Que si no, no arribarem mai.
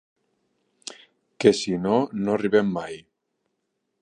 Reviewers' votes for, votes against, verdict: 1, 3, rejected